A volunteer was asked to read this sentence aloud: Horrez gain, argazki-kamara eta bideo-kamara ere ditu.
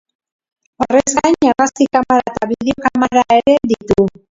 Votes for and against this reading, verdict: 0, 4, rejected